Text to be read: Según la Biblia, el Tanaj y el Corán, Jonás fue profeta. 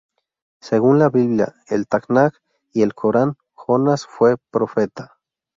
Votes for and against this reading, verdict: 2, 2, rejected